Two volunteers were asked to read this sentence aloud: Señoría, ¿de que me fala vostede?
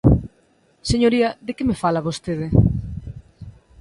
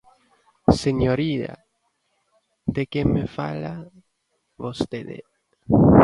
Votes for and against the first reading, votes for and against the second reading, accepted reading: 2, 0, 0, 2, first